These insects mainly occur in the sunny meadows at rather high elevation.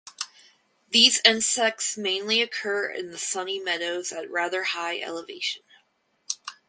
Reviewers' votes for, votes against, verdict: 4, 0, accepted